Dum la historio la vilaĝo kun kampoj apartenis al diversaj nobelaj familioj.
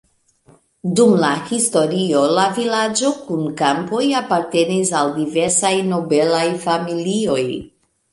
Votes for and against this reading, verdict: 2, 0, accepted